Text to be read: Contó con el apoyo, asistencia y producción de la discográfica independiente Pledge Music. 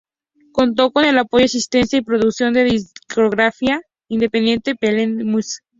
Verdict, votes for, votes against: rejected, 0, 2